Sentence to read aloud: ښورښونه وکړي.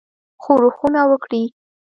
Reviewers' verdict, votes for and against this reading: accepted, 2, 1